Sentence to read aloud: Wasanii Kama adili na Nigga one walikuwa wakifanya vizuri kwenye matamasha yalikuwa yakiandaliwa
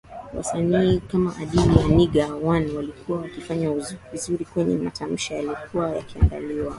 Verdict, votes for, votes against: rejected, 1, 2